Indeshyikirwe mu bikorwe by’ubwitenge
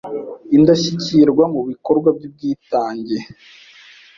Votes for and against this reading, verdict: 1, 2, rejected